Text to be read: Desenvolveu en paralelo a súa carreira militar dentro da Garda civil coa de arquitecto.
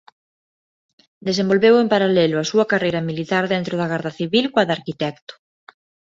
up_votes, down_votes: 0, 2